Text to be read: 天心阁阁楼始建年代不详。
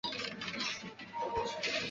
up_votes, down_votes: 0, 4